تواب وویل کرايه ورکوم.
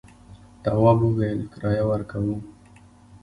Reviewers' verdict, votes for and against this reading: accepted, 2, 0